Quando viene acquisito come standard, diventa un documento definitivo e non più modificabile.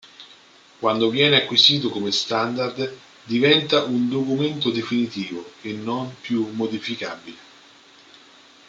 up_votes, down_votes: 2, 0